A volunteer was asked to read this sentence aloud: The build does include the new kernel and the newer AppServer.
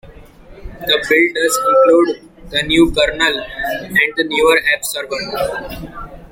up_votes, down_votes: 2, 0